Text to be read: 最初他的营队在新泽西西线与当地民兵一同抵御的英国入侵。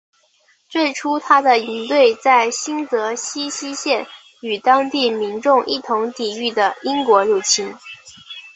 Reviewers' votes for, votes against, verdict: 1, 2, rejected